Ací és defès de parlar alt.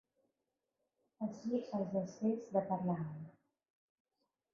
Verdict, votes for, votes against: rejected, 1, 2